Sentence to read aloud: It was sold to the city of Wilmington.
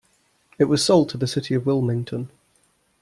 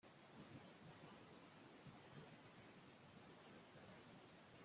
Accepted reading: first